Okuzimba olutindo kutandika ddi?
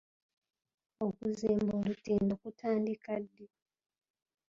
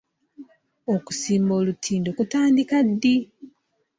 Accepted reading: first